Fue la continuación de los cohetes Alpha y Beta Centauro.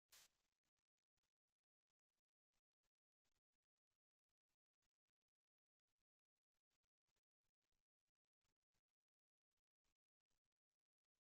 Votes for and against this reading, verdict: 0, 2, rejected